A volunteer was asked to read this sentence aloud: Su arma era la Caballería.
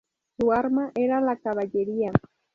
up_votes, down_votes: 2, 0